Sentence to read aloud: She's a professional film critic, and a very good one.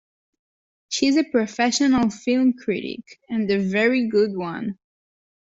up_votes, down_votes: 2, 0